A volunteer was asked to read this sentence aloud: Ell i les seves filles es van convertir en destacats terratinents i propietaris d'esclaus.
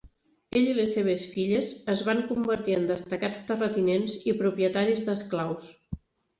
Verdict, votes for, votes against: accepted, 4, 0